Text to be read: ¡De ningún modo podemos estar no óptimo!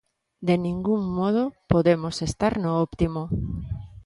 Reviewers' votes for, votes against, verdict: 2, 0, accepted